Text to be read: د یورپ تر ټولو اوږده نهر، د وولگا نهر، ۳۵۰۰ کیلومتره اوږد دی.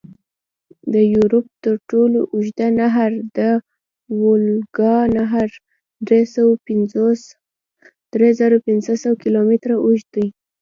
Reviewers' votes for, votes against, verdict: 0, 2, rejected